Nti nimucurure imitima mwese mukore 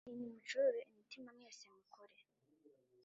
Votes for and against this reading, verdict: 1, 2, rejected